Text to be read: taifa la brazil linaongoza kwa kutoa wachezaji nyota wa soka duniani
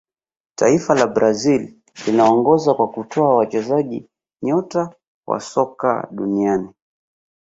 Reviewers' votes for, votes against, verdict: 2, 0, accepted